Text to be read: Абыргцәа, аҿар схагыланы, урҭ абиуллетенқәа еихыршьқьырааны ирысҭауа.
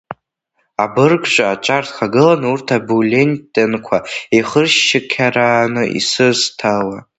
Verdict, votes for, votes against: rejected, 0, 2